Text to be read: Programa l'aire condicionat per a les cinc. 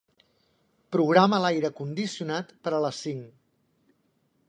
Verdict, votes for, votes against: accepted, 3, 0